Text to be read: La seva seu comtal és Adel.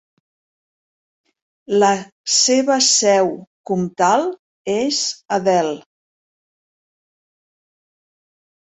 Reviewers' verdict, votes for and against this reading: rejected, 1, 2